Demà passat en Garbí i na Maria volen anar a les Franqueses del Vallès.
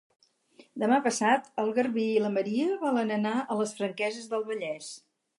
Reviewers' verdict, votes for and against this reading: rejected, 2, 4